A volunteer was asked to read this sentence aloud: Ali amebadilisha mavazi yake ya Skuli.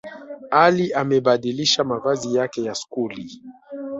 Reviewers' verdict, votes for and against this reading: rejected, 1, 2